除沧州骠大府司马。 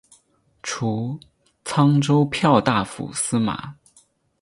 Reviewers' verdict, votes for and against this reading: accepted, 6, 2